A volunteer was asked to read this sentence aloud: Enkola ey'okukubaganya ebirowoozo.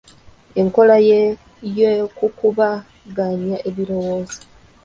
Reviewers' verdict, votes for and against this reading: rejected, 1, 2